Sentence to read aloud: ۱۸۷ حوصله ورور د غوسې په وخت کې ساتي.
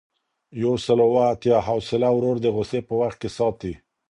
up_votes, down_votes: 0, 2